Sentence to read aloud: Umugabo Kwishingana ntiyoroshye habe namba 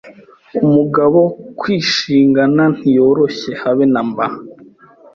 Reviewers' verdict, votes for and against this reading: accepted, 3, 0